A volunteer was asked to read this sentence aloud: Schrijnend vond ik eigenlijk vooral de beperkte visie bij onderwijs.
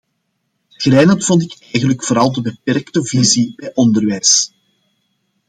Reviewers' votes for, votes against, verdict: 2, 0, accepted